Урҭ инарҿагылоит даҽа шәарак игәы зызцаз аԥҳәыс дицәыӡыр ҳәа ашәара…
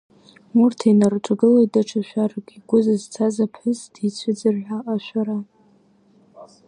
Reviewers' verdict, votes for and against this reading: rejected, 1, 2